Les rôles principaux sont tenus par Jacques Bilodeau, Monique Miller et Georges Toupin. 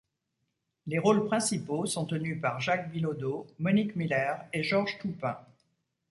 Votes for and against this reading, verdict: 2, 0, accepted